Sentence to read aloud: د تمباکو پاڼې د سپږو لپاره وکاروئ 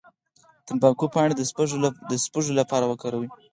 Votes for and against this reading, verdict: 2, 4, rejected